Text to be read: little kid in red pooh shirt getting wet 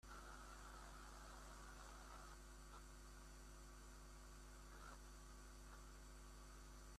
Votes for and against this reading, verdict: 0, 2, rejected